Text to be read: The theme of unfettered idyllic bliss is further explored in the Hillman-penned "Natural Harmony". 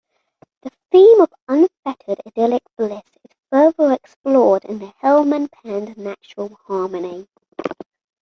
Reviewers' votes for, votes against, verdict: 2, 0, accepted